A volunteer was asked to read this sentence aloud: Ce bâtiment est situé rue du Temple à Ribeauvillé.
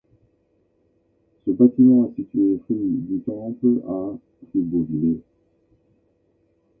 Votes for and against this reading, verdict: 1, 2, rejected